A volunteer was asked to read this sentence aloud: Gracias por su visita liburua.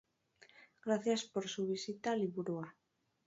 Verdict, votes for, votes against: rejected, 0, 2